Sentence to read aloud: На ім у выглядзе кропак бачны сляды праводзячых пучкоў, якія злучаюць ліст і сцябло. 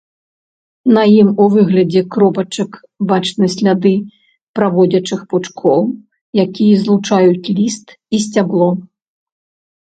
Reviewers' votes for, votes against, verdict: 0, 2, rejected